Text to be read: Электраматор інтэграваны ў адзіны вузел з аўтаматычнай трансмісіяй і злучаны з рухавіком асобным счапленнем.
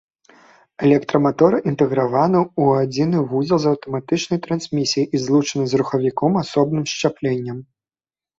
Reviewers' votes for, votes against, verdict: 1, 2, rejected